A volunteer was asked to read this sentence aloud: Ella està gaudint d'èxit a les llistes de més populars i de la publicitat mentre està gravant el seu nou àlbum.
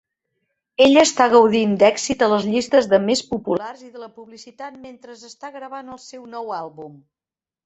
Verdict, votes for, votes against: rejected, 1, 2